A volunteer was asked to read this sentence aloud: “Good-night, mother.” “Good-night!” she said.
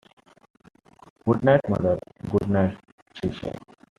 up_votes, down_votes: 1, 2